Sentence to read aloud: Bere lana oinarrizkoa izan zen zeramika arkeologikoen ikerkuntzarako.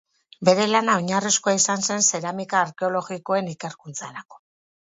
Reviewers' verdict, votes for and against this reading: accepted, 8, 0